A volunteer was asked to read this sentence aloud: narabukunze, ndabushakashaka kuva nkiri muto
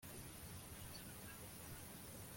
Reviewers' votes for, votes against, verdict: 0, 2, rejected